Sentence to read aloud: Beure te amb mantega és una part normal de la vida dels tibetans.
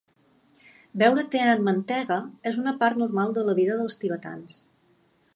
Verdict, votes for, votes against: accepted, 2, 0